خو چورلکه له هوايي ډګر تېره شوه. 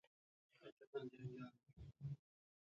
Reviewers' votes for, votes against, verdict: 0, 2, rejected